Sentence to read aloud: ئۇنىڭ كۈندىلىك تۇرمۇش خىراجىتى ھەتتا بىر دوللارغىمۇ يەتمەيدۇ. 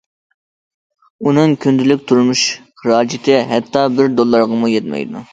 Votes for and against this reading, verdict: 2, 0, accepted